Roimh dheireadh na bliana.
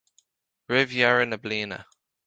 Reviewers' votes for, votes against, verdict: 2, 0, accepted